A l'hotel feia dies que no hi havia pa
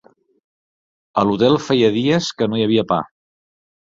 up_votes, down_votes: 4, 0